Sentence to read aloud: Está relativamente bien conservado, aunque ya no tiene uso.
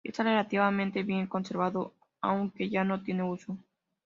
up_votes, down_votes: 2, 0